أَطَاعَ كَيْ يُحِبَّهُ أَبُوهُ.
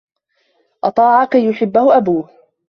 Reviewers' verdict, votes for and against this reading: rejected, 1, 2